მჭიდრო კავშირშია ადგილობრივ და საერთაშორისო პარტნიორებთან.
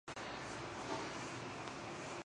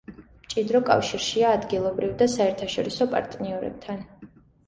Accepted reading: second